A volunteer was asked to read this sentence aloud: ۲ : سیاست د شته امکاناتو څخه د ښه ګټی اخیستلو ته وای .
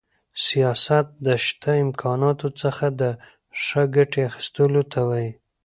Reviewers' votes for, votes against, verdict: 0, 2, rejected